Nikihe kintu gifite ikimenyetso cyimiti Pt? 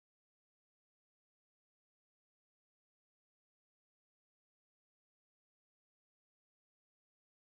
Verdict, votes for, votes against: accepted, 2, 1